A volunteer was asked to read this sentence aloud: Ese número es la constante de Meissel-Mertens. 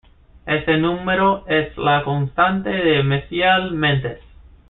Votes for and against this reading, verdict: 2, 0, accepted